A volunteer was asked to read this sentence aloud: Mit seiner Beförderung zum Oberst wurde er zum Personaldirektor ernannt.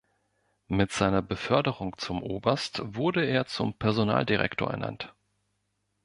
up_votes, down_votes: 2, 0